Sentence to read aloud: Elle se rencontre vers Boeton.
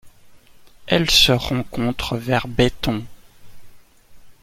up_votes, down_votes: 2, 0